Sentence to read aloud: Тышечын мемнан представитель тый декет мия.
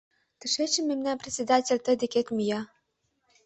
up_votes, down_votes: 1, 2